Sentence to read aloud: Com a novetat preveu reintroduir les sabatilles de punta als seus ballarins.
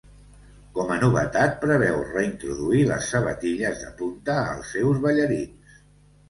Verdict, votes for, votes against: accepted, 2, 0